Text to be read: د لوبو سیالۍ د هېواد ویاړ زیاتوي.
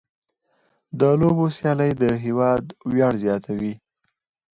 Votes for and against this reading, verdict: 4, 0, accepted